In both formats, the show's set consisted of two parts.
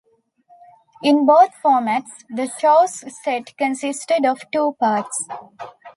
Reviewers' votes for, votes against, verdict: 2, 0, accepted